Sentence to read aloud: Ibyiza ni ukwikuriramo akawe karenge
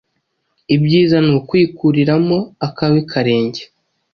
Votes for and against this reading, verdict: 2, 0, accepted